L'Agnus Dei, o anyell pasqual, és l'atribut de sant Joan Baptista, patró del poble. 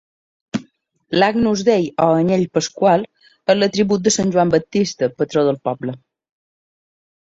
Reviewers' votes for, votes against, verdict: 1, 2, rejected